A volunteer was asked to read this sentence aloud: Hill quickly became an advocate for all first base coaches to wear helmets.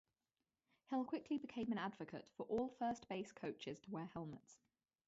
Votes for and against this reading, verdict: 0, 2, rejected